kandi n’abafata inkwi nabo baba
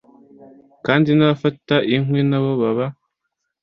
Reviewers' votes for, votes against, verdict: 2, 0, accepted